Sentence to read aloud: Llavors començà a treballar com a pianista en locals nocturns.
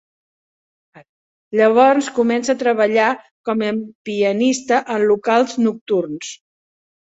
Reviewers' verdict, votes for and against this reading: accepted, 2, 1